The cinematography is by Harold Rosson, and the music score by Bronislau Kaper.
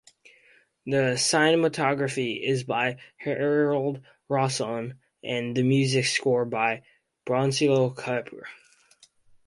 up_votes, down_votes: 2, 4